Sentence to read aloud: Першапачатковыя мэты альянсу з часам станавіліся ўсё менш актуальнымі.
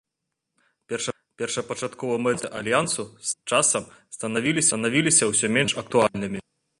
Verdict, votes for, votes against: rejected, 0, 2